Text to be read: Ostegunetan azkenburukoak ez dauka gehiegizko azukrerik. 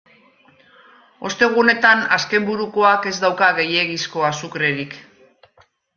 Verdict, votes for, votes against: accepted, 2, 0